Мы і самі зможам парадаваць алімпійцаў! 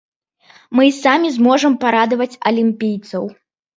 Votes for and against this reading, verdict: 2, 0, accepted